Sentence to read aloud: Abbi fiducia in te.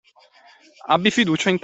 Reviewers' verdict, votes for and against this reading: rejected, 0, 2